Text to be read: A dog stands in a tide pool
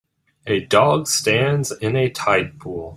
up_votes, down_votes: 2, 0